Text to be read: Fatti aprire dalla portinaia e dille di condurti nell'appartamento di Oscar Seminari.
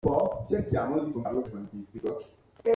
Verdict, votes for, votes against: rejected, 0, 2